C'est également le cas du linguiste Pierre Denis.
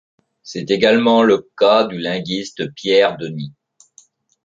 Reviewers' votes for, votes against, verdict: 2, 1, accepted